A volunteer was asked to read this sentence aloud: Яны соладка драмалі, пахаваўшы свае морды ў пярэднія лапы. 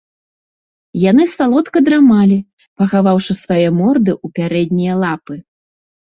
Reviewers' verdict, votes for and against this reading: rejected, 1, 2